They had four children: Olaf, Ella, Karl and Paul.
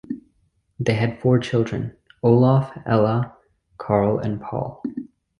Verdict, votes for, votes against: accepted, 2, 0